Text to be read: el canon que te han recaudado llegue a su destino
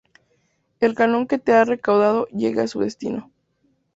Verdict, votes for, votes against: rejected, 0, 2